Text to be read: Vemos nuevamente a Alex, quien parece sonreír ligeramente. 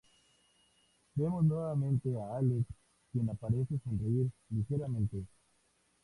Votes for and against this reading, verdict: 2, 0, accepted